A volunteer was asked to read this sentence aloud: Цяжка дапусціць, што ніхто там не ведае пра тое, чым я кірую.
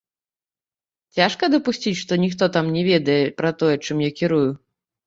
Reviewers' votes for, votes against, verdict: 1, 2, rejected